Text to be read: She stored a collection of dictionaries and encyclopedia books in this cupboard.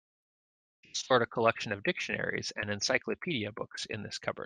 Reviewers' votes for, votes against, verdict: 1, 2, rejected